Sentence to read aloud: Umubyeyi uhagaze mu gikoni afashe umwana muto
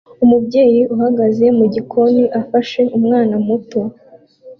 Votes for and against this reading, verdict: 2, 1, accepted